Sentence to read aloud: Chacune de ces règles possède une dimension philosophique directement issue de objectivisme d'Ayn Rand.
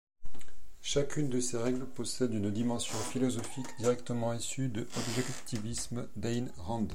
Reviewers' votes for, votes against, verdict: 1, 2, rejected